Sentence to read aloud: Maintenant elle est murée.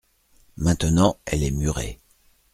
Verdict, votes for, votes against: accepted, 2, 0